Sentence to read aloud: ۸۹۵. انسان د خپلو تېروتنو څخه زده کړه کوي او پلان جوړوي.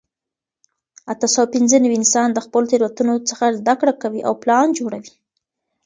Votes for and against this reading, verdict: 0, 2, rejected